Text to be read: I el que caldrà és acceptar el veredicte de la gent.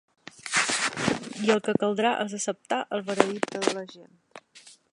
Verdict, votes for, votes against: accepted, 2, 1